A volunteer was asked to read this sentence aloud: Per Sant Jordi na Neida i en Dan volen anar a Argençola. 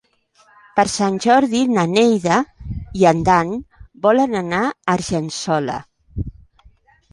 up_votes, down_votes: 3, 0